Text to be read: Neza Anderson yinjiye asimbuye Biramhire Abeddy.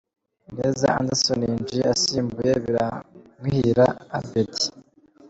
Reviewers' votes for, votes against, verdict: 1, 2, rejected